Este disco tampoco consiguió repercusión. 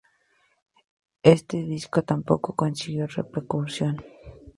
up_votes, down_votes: 2, 2